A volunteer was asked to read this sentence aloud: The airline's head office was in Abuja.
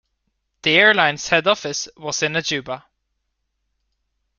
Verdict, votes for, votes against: rejected, 0, 2